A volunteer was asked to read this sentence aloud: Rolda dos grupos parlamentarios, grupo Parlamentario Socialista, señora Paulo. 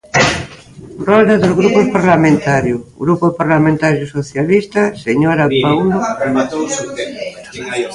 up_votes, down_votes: 0, 2